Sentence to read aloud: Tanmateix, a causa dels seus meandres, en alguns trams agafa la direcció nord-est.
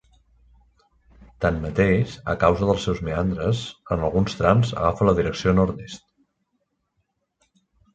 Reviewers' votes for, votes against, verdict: 2, 1, accepted